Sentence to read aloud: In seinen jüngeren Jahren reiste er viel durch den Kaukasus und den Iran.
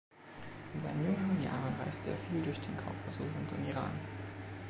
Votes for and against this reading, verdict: 2, 0, accepted